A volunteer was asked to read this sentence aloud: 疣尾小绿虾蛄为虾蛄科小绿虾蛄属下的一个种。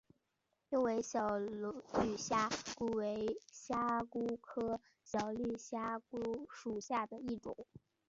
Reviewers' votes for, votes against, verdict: 0, 2, rejected